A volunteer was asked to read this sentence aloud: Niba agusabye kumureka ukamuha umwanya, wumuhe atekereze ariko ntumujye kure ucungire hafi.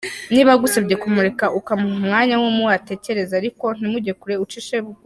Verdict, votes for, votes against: rejected, 0, 2